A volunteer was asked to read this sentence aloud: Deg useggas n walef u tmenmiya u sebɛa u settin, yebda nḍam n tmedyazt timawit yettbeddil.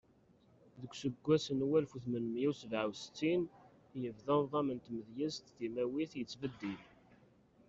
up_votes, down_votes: 0, 2